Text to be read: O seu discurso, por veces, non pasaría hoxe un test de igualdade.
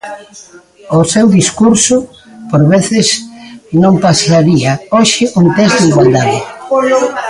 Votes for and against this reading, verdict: 1, 2, rejected